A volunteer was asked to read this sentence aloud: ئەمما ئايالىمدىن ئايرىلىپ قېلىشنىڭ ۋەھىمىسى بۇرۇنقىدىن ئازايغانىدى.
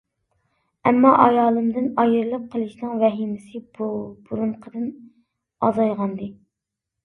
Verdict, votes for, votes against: rejected, 0, 2